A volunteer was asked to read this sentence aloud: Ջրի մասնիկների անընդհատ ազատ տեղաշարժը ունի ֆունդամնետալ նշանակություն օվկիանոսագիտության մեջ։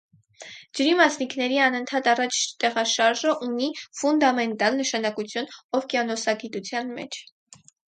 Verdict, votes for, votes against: rejected, 2, 4